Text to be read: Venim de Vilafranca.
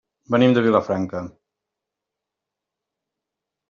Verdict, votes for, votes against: accepted, 3, 0